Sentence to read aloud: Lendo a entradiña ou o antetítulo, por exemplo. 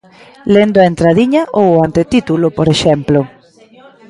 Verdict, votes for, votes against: rejected, 1, 2